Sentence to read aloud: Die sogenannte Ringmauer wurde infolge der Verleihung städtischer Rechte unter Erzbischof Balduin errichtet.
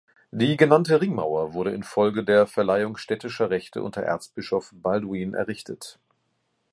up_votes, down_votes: 0, 2